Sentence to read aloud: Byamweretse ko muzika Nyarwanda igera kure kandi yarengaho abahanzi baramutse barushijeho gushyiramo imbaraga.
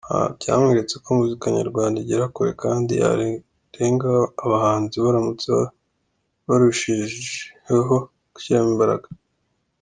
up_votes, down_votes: 2, 0